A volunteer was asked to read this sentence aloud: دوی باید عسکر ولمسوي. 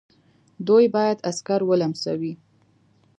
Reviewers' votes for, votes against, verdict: 2, 0, accepted